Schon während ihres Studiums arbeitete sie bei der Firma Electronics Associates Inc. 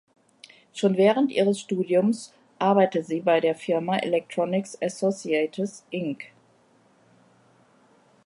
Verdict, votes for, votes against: rejected, 0, 2